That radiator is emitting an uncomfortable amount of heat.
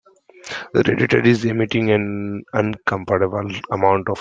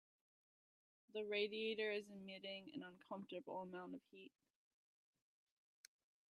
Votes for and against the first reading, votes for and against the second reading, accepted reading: 0, 2, 2, 1, second